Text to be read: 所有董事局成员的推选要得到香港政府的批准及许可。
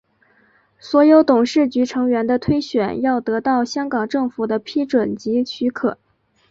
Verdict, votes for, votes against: accepted, 2, 0